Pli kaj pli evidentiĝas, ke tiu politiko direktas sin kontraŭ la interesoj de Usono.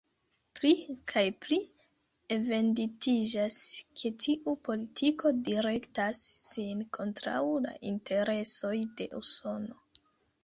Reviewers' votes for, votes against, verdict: 1, 2, rejected